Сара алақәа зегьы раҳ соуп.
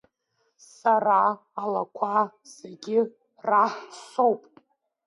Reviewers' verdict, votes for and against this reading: rejected, 1, 2